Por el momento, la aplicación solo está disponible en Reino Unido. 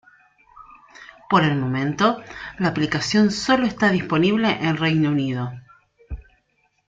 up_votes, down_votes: 0, 2